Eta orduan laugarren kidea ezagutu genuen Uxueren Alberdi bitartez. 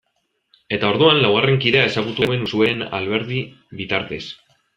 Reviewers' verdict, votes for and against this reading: rejected, 1, 2